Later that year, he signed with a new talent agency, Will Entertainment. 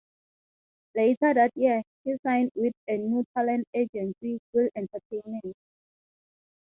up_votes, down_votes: 0, 3